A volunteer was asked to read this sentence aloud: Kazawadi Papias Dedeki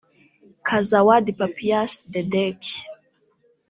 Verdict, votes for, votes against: rejected, 0, 2